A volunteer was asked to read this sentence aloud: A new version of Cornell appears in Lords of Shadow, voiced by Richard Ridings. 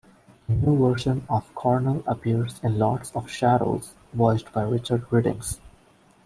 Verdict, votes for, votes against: rejected, 0, 2